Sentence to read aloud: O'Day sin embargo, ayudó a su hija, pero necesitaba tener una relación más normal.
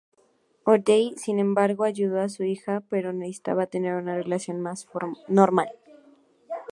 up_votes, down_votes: 0, 2